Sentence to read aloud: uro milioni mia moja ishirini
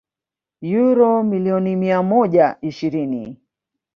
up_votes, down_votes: 0, 2